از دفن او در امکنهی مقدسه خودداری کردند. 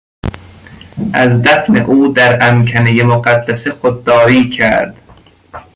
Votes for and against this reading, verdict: 0, 2, rejected